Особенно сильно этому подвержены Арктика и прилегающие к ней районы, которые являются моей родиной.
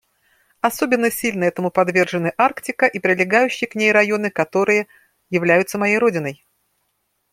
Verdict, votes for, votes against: accepted, 3, 0